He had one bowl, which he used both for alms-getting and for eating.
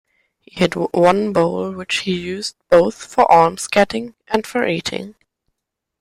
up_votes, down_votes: 1, 2